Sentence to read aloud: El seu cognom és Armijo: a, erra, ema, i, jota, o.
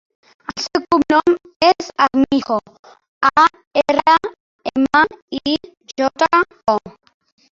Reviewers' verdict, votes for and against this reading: rejected, 0, 2